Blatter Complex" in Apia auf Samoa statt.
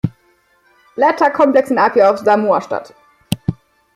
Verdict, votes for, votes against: accepted, 2, 0